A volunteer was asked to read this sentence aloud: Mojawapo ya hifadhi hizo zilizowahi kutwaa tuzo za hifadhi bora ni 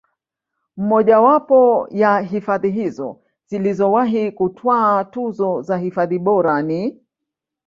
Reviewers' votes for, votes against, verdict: 0, 2, rejected